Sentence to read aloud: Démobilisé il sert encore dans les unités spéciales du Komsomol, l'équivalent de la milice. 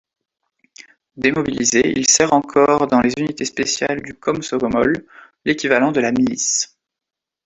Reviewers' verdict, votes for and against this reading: rejected, 1, 2